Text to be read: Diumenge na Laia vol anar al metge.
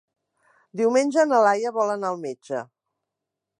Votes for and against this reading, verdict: 3, 0, accepted